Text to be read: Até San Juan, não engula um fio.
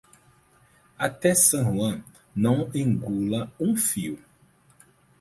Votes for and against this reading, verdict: 4, 0, accepted